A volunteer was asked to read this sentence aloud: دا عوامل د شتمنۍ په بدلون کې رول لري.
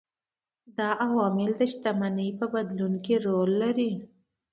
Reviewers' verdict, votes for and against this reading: accepted, 2, 0